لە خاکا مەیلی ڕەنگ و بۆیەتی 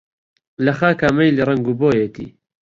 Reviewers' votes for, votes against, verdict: 2, 1, accepted